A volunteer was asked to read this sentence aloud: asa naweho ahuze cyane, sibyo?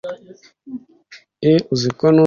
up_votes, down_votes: 1, 2